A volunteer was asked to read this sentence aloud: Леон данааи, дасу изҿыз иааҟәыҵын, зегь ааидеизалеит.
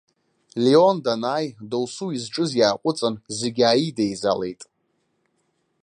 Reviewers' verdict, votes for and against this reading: accepted, 2, 0